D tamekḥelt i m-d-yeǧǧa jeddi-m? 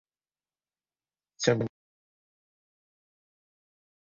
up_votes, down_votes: 0, 2